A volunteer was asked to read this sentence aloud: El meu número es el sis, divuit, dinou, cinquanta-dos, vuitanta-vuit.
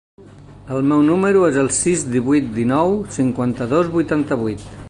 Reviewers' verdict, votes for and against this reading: accepted, 3, 1